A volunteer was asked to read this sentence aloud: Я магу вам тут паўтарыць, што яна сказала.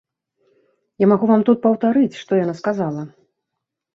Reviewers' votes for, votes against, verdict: 3, 0, accepted